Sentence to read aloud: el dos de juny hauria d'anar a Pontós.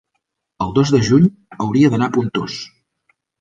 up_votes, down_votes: 3, 0